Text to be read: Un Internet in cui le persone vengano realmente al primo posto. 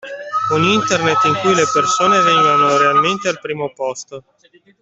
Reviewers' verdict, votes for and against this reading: rejected, 1, 2